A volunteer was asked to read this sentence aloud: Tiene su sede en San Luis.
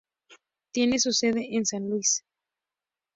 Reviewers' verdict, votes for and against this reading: accepted, 2, 0